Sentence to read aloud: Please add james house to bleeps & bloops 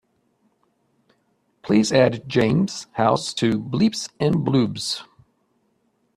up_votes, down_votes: 2, 0